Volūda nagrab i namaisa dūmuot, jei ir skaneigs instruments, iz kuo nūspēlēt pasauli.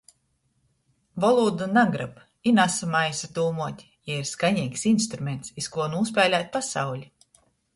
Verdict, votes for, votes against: rejected, 1, 2